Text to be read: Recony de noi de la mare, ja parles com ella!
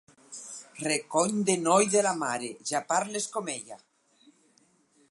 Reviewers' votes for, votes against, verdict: 4, 0, accepted